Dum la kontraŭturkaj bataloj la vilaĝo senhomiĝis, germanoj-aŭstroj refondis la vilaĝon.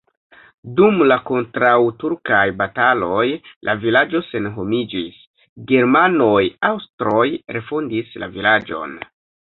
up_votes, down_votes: 0, 2